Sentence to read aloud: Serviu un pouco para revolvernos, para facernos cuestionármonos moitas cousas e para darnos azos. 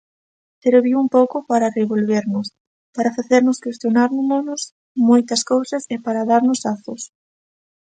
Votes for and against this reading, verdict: 0, 2, rejected